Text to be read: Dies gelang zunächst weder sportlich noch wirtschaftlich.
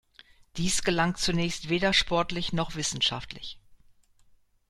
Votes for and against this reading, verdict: 1, 2, rejected